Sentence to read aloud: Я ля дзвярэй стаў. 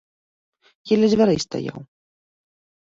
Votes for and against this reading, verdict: 0, 2, rejected